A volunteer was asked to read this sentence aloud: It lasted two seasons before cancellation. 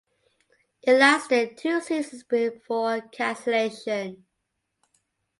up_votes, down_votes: 2, 0